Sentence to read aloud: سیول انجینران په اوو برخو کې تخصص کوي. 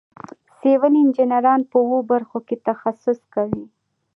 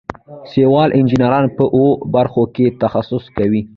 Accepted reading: first